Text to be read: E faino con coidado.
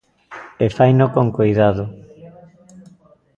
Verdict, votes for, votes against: rejected, 0, 2